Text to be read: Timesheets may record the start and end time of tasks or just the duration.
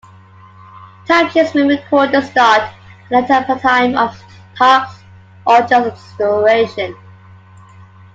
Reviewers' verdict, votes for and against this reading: accepted, 2, 0